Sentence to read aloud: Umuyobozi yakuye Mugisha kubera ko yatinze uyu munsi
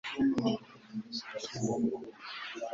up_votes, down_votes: 1, 2